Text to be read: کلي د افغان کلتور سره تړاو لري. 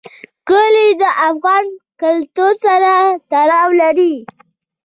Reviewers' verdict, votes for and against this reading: accepted, 2, 0